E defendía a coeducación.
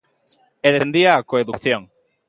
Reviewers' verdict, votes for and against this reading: rejected, 0, 2